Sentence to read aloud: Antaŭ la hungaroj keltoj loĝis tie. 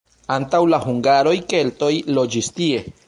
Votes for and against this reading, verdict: 0, 2, rejected